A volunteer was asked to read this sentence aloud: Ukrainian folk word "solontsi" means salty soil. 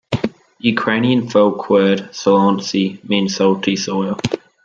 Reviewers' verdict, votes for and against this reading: accepted, 2, 0